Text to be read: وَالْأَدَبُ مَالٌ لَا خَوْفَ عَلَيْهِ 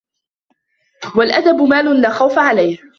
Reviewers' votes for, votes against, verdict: 2, 0, accepted